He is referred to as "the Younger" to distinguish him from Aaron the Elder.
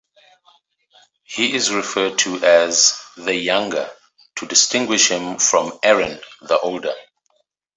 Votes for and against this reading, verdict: 1, 2, rejected